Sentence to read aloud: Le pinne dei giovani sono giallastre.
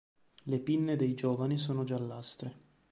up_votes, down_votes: 2, 0